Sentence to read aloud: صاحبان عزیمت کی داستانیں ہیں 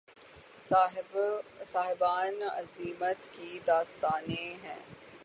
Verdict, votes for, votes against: accepted, 3, 0